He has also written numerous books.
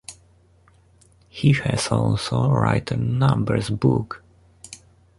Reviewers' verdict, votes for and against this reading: rejected, 1, 2